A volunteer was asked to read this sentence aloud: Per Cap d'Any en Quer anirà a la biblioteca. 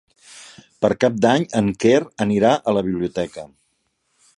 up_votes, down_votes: 3, 0